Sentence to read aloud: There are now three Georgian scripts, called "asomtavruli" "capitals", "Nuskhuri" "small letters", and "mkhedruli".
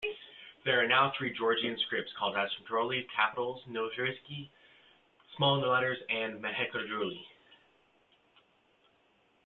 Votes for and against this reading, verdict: 0, 2, rejected